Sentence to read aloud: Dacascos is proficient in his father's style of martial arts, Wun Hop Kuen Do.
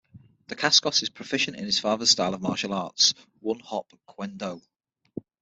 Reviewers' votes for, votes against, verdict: 6, 0, accepted